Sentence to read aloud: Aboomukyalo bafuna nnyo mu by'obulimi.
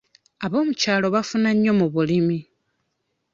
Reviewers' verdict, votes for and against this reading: rejected, 0, 2